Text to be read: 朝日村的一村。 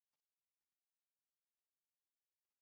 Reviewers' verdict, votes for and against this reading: accepted, 3, 2